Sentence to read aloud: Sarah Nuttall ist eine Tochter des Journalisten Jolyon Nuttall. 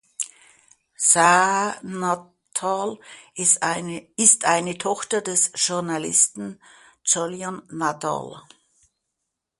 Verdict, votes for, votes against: rejected, 0, 3